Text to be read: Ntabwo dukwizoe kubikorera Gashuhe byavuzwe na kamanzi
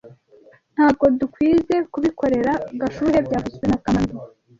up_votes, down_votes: 1, 2